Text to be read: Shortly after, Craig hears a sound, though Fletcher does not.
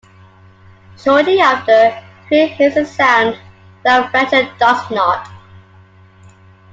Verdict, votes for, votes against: accepted, 2, 1